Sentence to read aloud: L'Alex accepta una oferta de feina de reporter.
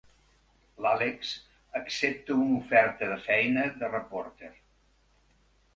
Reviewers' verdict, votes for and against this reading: accepted, 4, 0